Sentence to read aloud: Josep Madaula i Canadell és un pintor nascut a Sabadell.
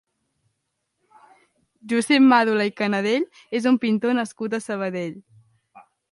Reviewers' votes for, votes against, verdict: 0, 2, rejected